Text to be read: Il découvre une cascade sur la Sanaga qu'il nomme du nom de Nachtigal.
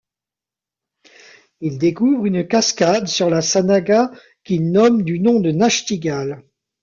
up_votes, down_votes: 1, 2